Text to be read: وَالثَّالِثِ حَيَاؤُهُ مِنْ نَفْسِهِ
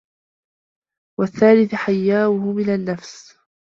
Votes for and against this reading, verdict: 1, 3, rejected